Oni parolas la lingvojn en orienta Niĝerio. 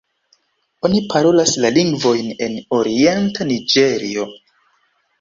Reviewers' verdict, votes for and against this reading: rejected, 2, 3